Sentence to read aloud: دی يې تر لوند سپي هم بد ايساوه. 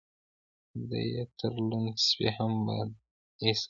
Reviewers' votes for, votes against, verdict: 0, 2, rejected